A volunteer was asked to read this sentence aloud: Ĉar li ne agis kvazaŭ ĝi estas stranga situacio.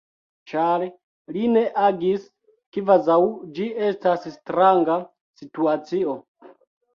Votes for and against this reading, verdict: 3, 1, accepted